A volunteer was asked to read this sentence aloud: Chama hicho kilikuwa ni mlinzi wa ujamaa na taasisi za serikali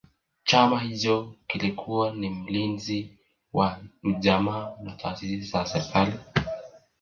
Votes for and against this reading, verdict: 2, 1, accepted